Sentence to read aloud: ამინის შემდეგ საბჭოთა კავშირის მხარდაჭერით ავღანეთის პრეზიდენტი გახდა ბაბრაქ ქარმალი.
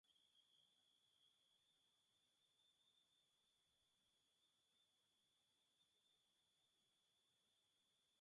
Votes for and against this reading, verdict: 0, 2, rejected